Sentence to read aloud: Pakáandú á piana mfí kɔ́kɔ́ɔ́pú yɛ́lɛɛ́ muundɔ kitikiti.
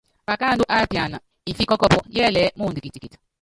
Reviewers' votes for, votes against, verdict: 0, 2, rejected